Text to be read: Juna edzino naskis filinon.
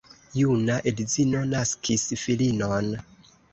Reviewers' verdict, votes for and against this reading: rejected, 1, 2